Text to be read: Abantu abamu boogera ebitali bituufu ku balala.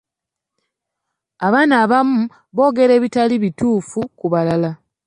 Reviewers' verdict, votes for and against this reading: rejected, 0, 2